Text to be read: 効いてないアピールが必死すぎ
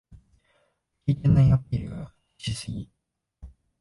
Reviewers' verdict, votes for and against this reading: rejected, 1, 2